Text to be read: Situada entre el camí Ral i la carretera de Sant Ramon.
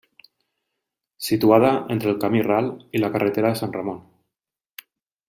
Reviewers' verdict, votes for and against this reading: accepted, 2, 0